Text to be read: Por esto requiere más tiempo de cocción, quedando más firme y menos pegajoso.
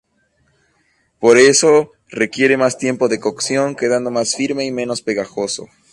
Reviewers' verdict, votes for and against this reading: rejected, 0, 4